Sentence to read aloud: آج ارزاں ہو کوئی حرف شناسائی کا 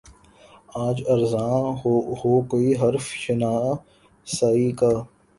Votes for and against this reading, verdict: 0, 2, rejected